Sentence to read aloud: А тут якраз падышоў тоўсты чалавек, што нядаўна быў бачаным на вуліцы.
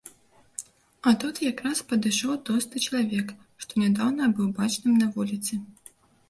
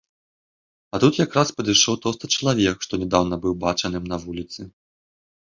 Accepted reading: second